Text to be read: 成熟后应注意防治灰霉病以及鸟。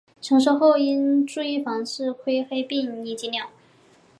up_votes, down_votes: 2, 0